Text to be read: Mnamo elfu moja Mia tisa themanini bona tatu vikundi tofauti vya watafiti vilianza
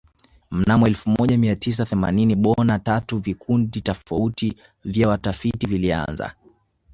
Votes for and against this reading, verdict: 2, 0, accepted